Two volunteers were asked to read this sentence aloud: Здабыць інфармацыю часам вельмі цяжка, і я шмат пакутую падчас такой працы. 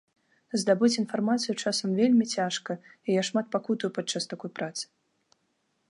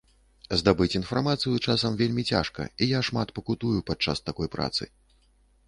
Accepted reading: first